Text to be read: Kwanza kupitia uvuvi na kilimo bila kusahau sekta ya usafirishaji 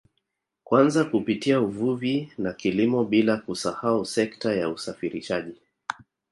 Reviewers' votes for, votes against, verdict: 2, 0, accepted